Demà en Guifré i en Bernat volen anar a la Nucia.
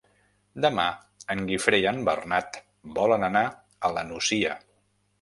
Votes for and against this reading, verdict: 3, 0, accepted